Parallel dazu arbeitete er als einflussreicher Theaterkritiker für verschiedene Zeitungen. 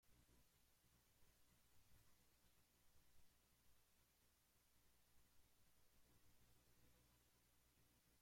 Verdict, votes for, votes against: rejected, 0, 2